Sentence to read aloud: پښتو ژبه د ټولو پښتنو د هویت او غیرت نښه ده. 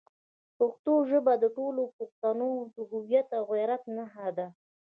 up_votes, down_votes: 3, 0